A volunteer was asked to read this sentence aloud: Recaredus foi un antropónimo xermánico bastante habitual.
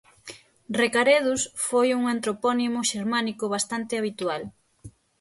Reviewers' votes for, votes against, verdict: 6, 0, accepted